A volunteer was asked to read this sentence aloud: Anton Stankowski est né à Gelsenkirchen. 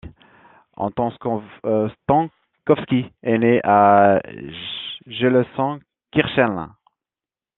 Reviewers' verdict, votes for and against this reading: rejected, 0, 2